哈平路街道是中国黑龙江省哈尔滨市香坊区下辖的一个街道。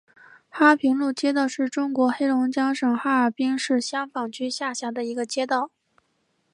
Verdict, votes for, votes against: accepted, 2, 0